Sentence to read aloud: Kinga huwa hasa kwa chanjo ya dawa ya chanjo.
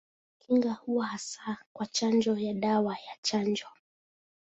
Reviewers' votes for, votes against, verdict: 2, 0, accepted